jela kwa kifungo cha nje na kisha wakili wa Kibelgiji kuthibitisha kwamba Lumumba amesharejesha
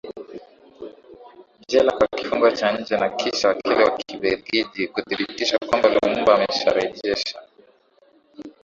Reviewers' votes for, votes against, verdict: 1, 2, rejected